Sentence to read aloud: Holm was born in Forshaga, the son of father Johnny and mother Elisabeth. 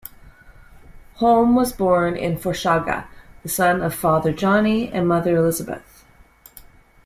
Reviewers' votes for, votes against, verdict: 2, 0, accepted